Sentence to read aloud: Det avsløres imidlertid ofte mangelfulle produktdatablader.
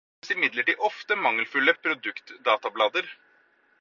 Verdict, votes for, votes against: rejected, 0, 4